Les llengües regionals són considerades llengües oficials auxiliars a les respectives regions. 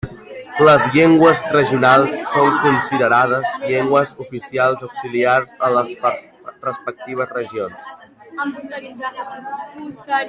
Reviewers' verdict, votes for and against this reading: rejected, 1, 2